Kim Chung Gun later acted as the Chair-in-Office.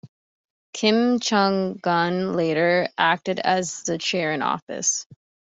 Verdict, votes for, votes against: accepted, 2, 0